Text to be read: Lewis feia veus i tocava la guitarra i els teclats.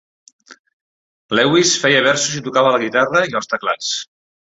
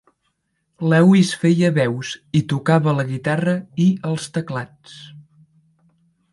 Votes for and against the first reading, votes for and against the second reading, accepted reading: 0, 2, 4, 0, second